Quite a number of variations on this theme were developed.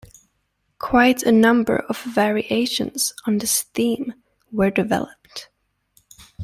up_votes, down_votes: 2, 0